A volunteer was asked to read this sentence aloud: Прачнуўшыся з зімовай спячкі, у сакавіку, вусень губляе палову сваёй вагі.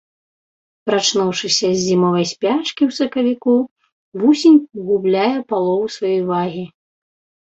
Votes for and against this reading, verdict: 0, 2, rejected